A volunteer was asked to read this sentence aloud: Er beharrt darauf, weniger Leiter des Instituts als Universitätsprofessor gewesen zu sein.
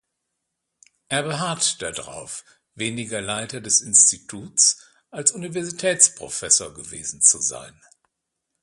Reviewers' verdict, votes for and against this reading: rejected, 1, 2